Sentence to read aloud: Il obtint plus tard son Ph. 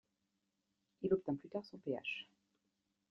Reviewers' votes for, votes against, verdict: 1, 2, rejected